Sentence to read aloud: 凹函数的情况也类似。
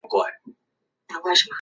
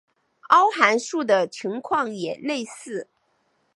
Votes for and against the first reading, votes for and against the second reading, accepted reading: 0, 5, 2, 0, second